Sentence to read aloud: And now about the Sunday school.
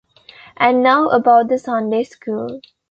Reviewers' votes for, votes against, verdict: 2, 0, accepted